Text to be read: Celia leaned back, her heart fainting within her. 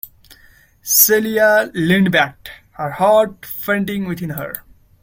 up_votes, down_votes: 1, 2